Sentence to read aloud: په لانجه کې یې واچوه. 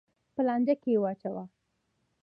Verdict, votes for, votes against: rejected, 0, 2